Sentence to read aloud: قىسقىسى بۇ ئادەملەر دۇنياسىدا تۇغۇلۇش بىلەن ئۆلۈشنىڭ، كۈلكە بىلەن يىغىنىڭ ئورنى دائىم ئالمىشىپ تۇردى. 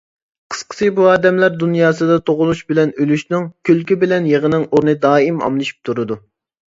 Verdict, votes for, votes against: rejected, 1, 2